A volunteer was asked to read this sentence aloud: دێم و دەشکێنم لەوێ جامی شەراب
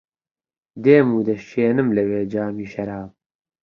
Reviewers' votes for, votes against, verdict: 2, 0, accepted